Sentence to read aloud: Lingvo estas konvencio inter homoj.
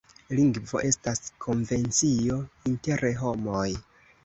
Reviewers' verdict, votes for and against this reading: accepted, 2, 0